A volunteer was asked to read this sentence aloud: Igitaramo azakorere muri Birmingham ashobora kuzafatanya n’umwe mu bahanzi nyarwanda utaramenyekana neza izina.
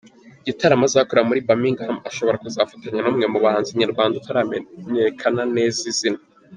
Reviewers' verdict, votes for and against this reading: accepted, 2, 0